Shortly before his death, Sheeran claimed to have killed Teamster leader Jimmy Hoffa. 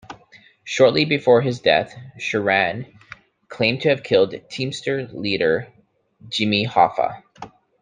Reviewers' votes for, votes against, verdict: 2, 0, accepted